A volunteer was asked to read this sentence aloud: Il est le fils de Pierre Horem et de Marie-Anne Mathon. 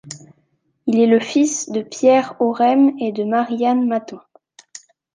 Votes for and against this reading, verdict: 2, 0, accepted